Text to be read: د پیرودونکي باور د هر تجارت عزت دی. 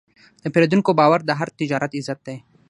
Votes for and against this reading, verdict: 0, 3, rejected